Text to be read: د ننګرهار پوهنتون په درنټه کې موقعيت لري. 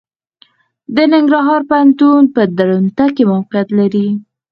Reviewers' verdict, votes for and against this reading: accepted, 4, 0